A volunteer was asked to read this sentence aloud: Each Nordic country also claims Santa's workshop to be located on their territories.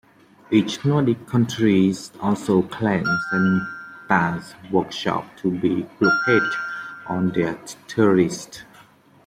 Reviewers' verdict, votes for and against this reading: rejected, 1, 2